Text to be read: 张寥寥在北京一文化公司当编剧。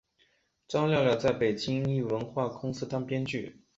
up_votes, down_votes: 3, 0